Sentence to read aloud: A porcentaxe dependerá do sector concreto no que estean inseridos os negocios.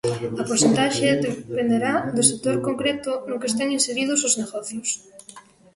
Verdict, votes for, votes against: rejected, 1, 2